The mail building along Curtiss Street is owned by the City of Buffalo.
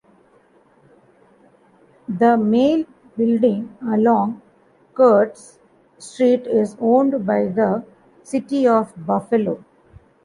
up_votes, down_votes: 1, 2